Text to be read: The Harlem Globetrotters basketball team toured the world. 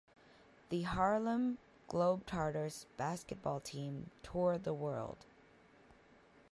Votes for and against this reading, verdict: 0, 2, rejected